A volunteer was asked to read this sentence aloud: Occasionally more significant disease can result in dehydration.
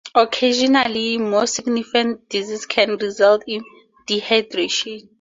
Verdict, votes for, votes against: accepted, 2, 0